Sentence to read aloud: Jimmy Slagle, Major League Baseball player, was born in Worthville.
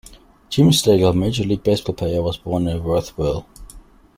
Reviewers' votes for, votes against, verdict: 1, 2, rejected